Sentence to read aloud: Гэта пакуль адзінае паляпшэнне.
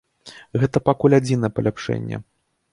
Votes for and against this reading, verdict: 0, 2, rejected